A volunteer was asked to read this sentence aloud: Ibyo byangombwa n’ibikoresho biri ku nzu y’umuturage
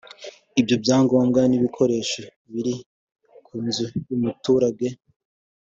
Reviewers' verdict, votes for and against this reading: accepted, 2, 1